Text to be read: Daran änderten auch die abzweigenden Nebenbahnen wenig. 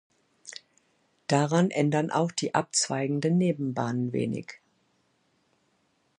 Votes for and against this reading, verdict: 1, 2, rejected